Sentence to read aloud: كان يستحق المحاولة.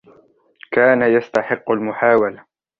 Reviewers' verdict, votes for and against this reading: rejected, 1, 2